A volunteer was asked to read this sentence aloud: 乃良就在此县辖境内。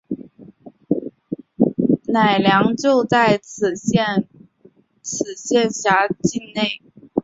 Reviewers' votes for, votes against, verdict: 1, 2, rejected